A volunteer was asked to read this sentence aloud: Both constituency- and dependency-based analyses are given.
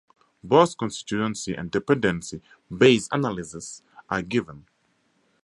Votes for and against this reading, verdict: 4, 2, accepted